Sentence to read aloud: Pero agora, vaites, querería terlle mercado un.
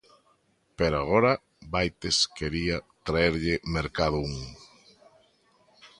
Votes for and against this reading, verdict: 0, 2, rejected